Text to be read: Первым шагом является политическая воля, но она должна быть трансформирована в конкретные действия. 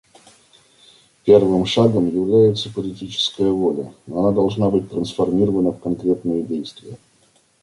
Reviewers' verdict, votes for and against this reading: rejected, 1, 2